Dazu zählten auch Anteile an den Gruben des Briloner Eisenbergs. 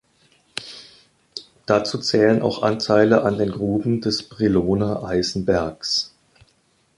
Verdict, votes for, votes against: rejected, 0, 2